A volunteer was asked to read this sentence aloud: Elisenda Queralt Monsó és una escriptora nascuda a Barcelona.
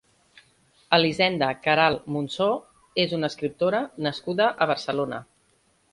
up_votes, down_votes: 2, 0